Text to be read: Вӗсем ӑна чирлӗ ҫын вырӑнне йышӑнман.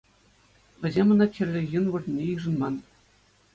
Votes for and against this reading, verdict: 2, 0, accepted